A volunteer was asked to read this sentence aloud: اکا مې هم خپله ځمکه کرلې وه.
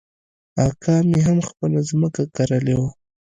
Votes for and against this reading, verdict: 2, 0, accepted